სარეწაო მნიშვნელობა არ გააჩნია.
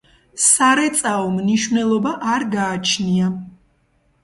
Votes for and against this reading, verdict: 2, 0, accepted